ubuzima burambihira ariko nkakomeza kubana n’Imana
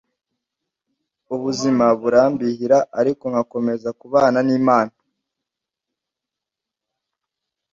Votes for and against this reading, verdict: 2, 0, accepted